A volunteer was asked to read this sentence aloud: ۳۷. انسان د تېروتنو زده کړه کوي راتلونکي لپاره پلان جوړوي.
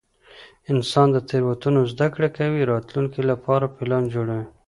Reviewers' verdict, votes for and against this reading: rejected, 0, 2